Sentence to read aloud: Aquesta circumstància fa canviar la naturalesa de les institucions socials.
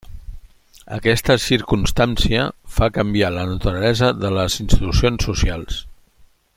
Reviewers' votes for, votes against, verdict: 2, 0, accepted